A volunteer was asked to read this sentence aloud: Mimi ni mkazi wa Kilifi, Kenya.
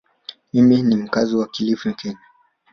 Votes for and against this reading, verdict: 1, 2, rejected